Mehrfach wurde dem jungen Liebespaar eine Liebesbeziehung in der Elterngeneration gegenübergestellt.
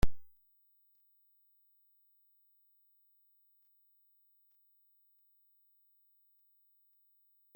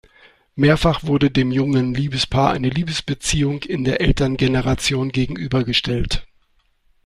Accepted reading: second